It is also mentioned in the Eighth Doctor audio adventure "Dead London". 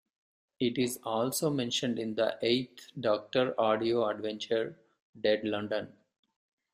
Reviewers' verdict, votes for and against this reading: accepted, 2, 0